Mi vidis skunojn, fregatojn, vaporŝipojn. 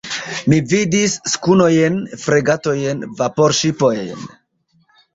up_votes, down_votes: 1, 2